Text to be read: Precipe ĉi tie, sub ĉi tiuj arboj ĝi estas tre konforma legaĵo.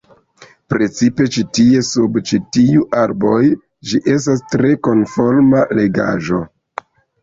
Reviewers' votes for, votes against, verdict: 0, 2, rejected